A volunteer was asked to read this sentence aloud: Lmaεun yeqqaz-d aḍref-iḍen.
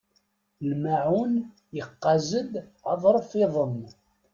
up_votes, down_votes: 2, 0